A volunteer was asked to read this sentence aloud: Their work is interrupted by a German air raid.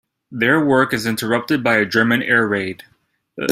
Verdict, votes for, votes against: accepted, 2, 0